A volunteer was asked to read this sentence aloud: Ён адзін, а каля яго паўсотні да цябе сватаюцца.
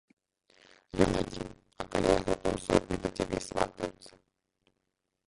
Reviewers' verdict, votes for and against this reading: rejected, 0, 2